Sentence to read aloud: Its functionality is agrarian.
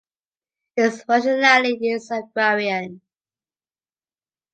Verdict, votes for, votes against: accepted, 2, 1